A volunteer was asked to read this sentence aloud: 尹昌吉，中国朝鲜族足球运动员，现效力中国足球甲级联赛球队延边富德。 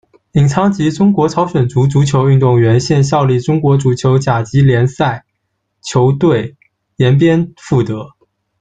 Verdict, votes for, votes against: accepted, 2, 0